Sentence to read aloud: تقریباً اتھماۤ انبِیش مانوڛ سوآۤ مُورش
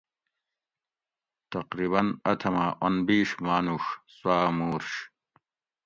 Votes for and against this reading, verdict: 2, 0, accepted